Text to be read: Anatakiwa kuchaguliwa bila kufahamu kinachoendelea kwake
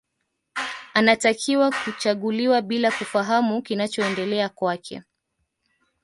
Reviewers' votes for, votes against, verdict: 2, 0, accepted